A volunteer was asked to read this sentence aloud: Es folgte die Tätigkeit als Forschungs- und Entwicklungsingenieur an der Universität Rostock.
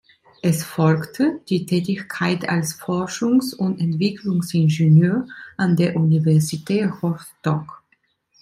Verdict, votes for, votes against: accepted, 2, 1